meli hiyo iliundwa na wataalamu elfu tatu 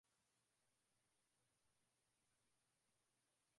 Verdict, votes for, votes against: rejected, 0, 2